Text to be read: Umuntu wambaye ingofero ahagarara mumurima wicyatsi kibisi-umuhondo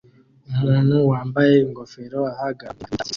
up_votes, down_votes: 0, 2